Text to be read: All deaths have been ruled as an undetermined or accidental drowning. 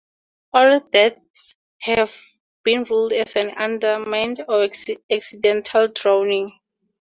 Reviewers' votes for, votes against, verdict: 0, 4, rejected